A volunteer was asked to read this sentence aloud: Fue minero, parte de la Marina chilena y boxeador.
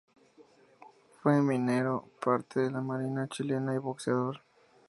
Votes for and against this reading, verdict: 2, 0, accepted